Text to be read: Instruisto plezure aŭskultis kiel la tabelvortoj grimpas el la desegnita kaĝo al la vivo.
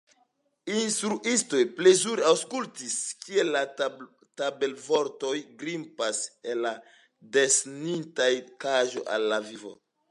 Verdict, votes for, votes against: accepted, 2, 1